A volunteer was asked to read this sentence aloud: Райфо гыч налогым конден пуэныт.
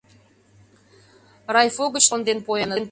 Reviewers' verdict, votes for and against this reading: rejected, 0, 2